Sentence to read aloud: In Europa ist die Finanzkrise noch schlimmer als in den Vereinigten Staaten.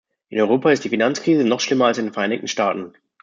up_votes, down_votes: 2, 0